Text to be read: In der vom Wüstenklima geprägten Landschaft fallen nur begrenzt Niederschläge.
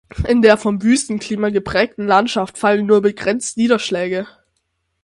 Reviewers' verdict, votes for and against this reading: accepted, 6, 0